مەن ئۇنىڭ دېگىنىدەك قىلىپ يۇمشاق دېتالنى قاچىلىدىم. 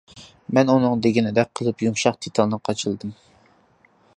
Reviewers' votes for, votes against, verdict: 2, 0, accepted